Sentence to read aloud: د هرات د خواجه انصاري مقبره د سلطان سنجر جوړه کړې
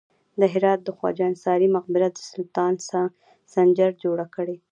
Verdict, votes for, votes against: accepted, 2, 0